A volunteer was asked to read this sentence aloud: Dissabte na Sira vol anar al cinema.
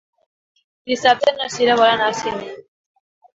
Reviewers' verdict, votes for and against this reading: rejected, 1, 2